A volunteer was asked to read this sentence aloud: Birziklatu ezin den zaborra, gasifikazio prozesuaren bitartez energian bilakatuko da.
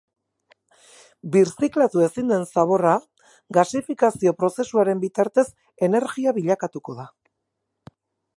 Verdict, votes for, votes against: rejected, 0, 2